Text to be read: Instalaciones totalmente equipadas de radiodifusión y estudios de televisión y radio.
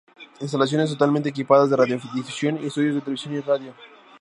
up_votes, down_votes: 2, 0